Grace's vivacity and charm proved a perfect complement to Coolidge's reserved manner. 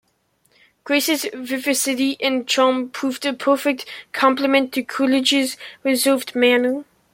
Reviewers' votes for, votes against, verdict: 2, 0, accepted